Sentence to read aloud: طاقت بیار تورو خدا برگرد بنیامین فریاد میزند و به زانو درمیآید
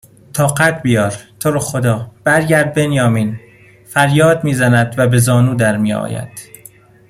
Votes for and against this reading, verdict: 2, 0, accepted